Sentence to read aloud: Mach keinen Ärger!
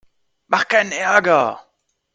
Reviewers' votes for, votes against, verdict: 3, 0, accepted